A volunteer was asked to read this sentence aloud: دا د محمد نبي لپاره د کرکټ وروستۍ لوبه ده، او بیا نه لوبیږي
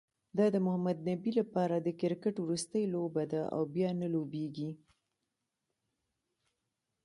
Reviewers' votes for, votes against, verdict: 2, 1, accepted